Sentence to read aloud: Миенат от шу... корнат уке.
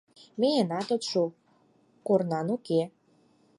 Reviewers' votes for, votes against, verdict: 4, 0, accepted